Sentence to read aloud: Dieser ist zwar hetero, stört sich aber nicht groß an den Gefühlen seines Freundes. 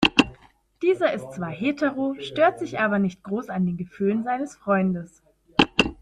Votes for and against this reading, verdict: 4, 1, accepted